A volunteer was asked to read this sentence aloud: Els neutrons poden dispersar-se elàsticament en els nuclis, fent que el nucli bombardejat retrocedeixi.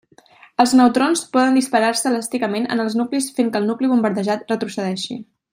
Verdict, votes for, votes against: rejected, 0, 2